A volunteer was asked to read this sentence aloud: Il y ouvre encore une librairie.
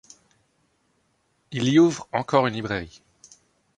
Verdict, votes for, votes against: rejected, 1, 2